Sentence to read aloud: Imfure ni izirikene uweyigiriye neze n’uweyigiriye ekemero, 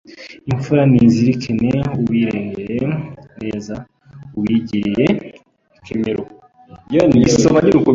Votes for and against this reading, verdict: 0, 2, rejected